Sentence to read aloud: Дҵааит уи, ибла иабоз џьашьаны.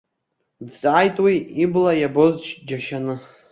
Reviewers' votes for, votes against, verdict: 0, 2, rejected